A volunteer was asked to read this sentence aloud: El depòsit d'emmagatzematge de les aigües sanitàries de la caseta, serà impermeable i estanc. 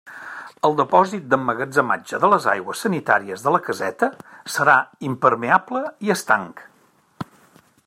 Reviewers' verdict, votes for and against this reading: accepted, 3, 0